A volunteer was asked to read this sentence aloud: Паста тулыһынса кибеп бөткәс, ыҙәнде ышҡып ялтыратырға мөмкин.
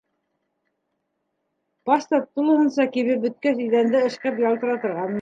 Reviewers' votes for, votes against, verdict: 1, 2, rejected